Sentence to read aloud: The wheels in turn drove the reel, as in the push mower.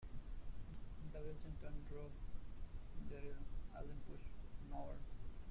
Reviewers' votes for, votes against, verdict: 0, 2, rejected